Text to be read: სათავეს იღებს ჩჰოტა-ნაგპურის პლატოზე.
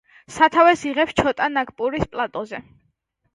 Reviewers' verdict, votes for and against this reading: rejected, 1, 2